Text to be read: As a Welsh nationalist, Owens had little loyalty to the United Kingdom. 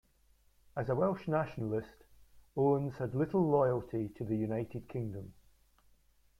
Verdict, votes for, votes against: rejected, 1, 2